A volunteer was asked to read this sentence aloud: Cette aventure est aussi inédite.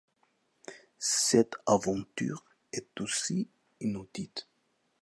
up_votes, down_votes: 0, 2